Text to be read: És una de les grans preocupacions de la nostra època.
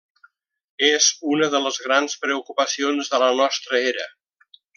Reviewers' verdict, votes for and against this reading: rejected, 0, 2